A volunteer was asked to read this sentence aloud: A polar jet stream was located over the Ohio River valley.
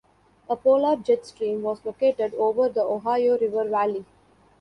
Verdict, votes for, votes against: accepted, 2, 0